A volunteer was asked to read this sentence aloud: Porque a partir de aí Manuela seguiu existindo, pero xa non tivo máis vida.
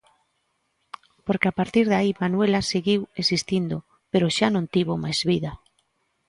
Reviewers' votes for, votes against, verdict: 3, 0, accepted